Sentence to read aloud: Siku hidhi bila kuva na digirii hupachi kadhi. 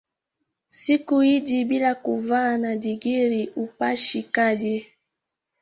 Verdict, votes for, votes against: rejected, 1, 2